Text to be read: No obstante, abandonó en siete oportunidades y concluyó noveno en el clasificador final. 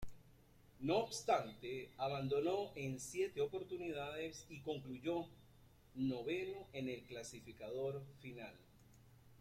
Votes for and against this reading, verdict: 0, 3, rejected